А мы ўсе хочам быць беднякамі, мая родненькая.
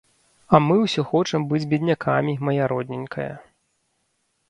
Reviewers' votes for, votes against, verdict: 2, 0, accepted